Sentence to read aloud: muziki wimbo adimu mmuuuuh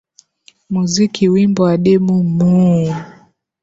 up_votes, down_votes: 3, 3